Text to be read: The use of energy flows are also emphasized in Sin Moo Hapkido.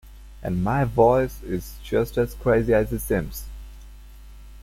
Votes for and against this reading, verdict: 0, 2, rejected